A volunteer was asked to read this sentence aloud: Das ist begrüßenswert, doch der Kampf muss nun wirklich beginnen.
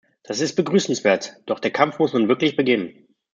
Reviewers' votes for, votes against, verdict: 2, 0, accepted